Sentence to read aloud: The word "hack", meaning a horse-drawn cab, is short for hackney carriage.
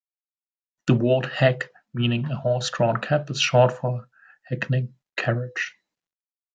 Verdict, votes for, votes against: rejected, 1, 2